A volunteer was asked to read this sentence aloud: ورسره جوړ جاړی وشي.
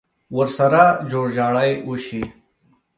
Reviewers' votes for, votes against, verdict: 2, 0, accepted